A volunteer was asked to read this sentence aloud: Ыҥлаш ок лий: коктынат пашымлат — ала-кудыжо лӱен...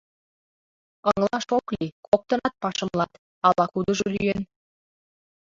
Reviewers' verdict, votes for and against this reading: accepted, 2, 0